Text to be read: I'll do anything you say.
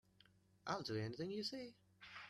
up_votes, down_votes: 1, 2